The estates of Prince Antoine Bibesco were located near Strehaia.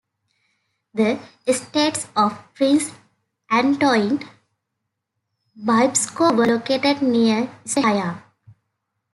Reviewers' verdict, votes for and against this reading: rejected, 1, 2